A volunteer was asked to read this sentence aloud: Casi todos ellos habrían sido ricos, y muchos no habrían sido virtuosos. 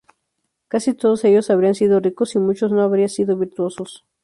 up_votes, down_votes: 2, 2